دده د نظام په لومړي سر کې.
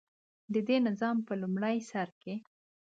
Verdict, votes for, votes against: accepted, 3, 0